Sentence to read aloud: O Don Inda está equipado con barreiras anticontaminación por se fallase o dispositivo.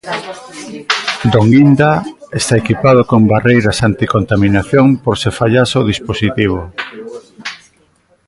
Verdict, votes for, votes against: rejected, 1, 2